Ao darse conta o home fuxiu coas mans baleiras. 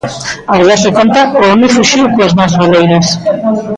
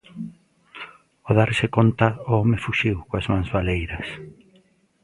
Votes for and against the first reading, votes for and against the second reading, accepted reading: 0, 2, 2, 0, second